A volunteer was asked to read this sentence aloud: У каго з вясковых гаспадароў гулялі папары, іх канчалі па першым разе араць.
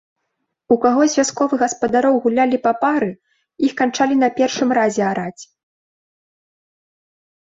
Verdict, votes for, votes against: rejected, 0, 2